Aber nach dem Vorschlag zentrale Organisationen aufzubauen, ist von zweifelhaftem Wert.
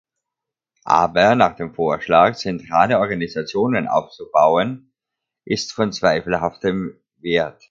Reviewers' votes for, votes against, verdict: 2, 0, accepted